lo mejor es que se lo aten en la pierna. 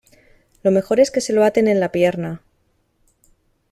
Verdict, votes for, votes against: accepted, 2, 0